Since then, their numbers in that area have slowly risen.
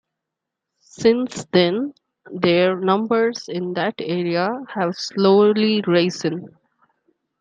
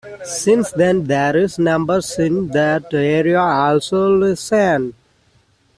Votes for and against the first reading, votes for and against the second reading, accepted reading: 2, 0, 0, 2, first